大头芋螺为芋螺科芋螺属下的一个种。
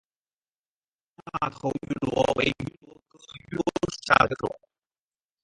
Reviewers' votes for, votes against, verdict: 0, 10, rejected